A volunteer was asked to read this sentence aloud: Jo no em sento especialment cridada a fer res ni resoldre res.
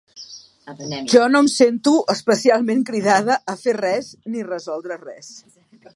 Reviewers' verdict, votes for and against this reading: accepted, 3, 1